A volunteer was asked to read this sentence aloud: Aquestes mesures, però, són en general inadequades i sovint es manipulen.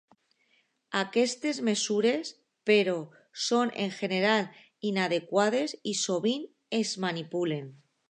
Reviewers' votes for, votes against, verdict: 0, 2, rejected